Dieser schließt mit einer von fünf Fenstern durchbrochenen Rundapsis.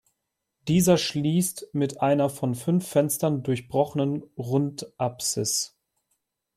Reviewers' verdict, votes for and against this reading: accepted, 2, 0